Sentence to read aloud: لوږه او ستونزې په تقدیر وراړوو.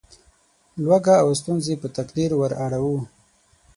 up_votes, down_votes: 6, 0